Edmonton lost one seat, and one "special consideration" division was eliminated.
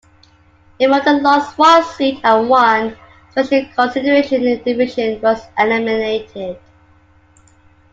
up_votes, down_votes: 0, 2